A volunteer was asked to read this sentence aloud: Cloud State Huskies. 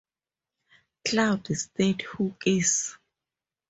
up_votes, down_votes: 2, 0